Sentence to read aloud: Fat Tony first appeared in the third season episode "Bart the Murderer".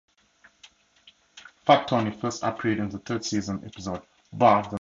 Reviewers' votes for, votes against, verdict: 0, 2, rejected